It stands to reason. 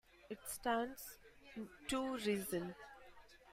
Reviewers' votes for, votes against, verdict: 1, 2, rejected